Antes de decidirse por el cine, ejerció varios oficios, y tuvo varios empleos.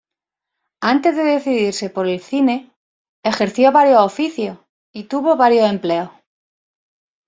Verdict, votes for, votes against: rejected, 1, 2